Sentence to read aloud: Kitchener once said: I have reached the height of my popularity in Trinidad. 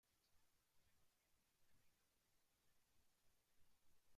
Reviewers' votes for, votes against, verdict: 0, 2, rejected